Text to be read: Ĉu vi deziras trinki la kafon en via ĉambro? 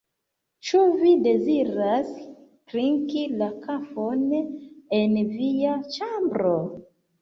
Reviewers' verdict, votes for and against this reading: rejected, 0, 2